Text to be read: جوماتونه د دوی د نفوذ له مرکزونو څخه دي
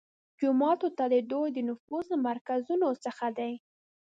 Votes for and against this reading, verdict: 1, 2, rejected